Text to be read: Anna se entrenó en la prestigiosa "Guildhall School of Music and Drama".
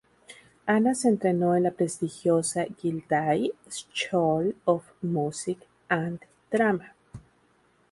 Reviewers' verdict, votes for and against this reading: rejected, 0, 2